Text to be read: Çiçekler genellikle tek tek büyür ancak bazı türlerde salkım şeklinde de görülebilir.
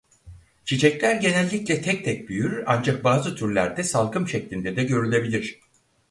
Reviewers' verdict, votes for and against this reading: accepted, 4, 0